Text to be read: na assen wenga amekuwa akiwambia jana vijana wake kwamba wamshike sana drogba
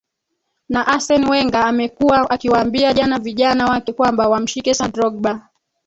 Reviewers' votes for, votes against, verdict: 1, 3, rejected